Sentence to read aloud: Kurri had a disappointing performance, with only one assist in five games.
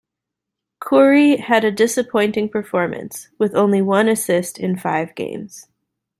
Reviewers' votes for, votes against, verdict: 2, 0, accepted